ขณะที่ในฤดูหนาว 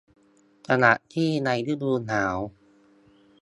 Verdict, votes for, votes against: accepted, 2, 0